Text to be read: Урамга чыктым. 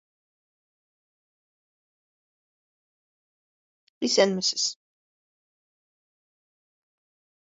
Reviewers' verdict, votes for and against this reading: rejected, 0, 2